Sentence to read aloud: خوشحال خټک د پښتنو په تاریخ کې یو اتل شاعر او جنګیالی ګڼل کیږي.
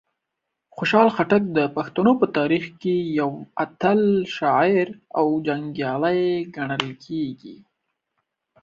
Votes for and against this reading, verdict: 2, 0, accepted